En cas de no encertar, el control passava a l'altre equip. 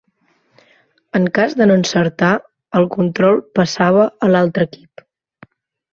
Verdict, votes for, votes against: rejected, 1, 2